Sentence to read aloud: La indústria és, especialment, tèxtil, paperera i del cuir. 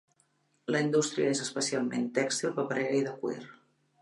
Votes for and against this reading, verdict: 2, 3, rejected